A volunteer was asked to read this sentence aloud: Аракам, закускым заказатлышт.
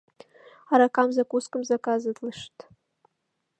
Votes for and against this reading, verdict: 1, 3, rejected